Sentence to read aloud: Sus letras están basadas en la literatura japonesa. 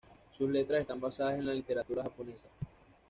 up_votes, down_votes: 1, 2